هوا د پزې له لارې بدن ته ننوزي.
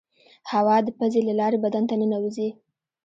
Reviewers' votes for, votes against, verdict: 0, 2, rejected